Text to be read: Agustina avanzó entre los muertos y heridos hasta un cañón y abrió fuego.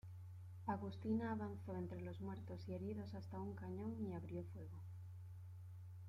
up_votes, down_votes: 0, 2